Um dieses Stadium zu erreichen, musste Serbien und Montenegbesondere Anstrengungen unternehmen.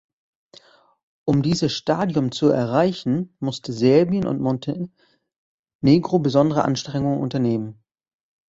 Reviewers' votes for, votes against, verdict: 0, 2, rejected